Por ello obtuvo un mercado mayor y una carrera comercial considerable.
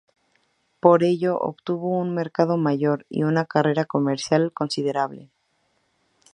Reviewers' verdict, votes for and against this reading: accepted, 2, 0